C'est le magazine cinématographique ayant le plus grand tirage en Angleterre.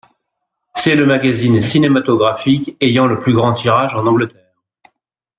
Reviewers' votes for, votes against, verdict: 1, 2, rejected